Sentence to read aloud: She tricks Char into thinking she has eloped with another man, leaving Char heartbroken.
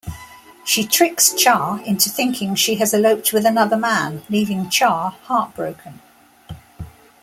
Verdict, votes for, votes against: accepted, 3, 0